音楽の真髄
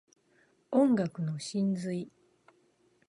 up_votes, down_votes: 2, 0